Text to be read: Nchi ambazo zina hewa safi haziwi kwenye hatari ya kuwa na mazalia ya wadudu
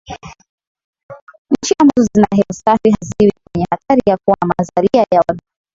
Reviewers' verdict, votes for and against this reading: rejected, 0, 3